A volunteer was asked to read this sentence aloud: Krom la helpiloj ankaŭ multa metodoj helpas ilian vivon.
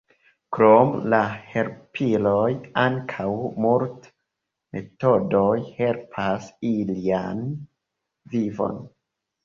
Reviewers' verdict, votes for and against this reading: rejected, 1, 2